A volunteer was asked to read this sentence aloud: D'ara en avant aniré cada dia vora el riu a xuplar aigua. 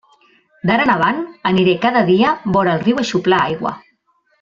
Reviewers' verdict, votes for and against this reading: accepted, 2, 0